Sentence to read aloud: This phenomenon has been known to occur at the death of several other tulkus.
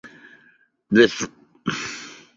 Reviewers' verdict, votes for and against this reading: rejected, 0, 2